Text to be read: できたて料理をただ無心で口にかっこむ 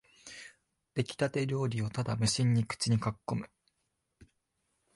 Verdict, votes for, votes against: rejected, 1, 2